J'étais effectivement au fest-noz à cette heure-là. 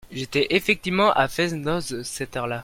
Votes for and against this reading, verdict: 0, 2, rejected